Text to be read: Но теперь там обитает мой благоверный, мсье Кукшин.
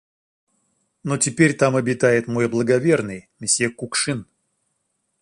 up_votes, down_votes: 1, 2